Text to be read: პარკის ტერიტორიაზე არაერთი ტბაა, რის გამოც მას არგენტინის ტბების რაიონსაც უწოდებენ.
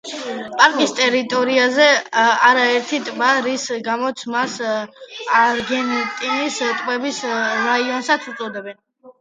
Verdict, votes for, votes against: accepted, 2, 0